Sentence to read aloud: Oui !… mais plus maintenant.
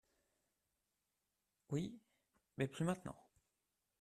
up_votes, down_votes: 0, 2